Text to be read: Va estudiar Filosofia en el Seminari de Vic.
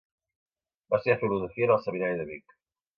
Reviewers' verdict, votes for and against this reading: accepted, 2, 0